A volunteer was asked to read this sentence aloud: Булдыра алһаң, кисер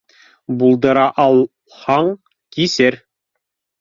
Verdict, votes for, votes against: rejected, 1, 2